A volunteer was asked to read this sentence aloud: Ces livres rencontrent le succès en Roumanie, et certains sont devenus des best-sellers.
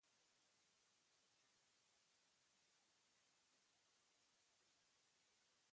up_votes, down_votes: 0, 2